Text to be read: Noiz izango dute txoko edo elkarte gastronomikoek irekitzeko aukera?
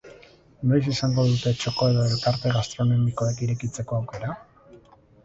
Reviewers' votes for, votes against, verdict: 0, 2, rejected